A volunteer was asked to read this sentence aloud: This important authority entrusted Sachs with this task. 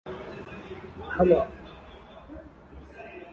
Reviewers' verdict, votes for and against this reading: rejected, 0, 2